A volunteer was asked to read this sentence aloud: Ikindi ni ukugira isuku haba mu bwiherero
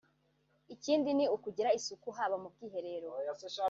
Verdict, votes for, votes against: rejected, 1, 2